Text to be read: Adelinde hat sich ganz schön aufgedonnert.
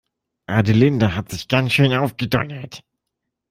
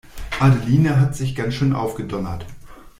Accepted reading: first